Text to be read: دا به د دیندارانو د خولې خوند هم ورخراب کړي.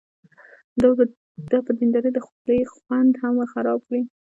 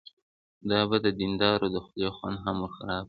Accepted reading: second